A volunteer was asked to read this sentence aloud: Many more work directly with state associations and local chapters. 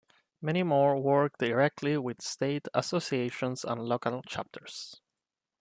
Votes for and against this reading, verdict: 2, 0, accepted